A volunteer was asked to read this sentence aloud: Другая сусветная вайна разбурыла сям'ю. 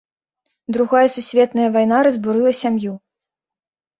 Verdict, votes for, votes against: accepted, 2, 0